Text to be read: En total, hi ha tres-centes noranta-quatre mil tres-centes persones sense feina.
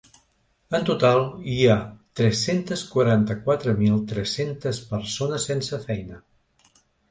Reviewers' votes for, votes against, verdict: 1, 2, rejected